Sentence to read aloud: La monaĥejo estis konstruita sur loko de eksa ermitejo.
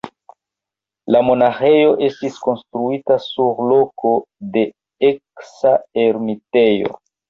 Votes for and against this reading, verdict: 2, 1, accepted